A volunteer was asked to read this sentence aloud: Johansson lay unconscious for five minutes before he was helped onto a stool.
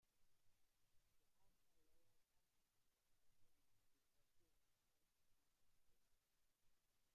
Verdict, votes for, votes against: rejected, 0, 2